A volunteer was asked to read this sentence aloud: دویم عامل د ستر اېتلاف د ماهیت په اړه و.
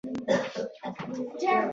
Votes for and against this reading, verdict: 0, 2, rejected